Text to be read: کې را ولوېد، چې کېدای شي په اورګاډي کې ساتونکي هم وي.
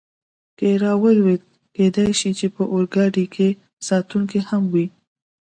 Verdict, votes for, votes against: accepted, 2, 0